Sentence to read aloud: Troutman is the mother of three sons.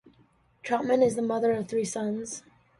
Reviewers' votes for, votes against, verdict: 2, 0, accepted